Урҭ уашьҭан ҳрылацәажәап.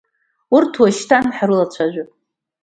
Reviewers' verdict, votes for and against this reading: accepted, 2, 0